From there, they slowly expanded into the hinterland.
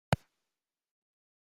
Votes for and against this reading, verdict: 0, 2, rejected